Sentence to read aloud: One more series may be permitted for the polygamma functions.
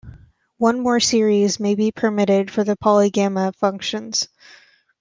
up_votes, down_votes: 2, 0